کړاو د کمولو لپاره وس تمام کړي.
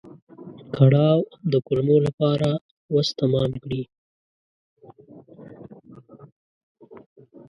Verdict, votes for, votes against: rejected, 1, 2